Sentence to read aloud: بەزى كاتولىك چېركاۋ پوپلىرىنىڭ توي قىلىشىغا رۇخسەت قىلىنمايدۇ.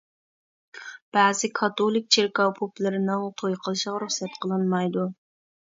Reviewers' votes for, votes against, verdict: 1, 2, rejected